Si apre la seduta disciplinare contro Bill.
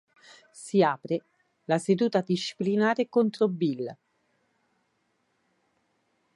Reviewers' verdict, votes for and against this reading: accepted, 5, 0